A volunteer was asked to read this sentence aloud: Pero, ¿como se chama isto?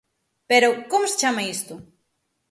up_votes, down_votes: 6, 0